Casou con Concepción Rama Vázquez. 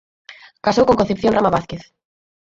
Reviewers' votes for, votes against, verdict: 4, 2, accepted